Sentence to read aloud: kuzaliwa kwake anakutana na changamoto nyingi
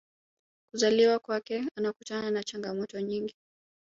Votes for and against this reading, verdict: 4, 1, accepted